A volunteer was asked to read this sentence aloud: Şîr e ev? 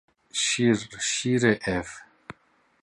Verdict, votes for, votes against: rejected, 0, 2